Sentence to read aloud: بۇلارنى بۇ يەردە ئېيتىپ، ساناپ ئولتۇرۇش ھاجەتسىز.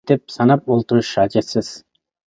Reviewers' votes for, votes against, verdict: 0, 2, rejected